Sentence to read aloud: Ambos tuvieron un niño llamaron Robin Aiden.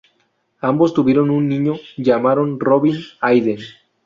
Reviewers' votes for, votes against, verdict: 2, 0, accepted